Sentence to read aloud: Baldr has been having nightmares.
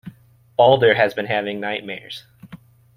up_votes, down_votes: 2, 0